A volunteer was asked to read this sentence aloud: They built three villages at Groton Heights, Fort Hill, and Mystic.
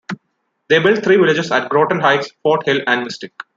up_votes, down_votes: 0, 2